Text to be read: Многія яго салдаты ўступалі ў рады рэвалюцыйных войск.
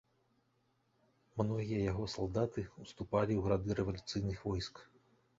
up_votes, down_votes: 2, 1